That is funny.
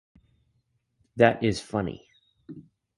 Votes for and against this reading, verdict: 2, 0, accepted